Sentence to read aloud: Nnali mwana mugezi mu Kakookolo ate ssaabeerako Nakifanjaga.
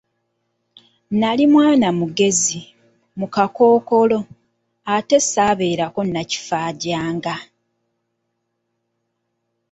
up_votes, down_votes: 0, 2